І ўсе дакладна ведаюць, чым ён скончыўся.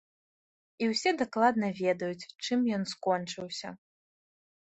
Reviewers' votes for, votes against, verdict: 2, 0, accepted